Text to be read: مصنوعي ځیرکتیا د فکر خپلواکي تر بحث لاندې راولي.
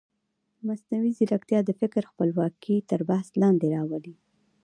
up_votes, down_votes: 0, 2